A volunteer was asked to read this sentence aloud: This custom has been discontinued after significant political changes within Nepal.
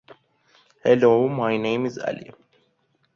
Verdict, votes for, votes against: rejected, 0, 2